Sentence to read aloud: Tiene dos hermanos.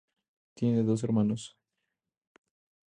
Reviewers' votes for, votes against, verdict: 4, 0, accepted